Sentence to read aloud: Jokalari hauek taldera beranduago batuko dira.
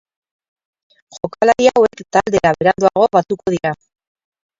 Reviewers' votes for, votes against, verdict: 0, 4, rejected